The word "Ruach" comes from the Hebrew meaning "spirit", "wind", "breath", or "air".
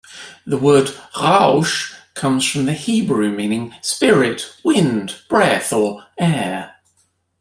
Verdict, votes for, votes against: accepted, 2, 0